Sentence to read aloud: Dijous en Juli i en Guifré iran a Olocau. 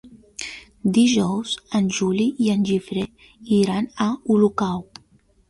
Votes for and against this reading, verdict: 0, 2, rejected